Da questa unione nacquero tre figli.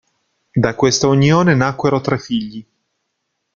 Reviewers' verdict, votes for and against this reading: accepted, 2, 1